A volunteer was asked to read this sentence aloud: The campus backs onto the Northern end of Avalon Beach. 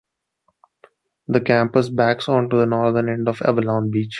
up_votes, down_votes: 3, 0